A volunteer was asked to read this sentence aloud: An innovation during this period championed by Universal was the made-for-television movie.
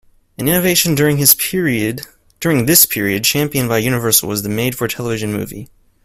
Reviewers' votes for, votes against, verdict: 0, 2, rejected